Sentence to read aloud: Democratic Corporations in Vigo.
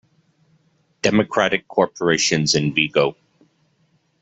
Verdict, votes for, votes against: accepted, 2, 0